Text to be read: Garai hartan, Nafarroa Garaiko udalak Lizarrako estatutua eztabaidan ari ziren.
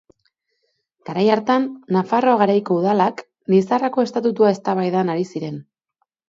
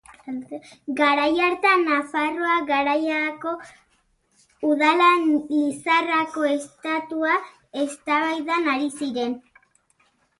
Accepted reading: first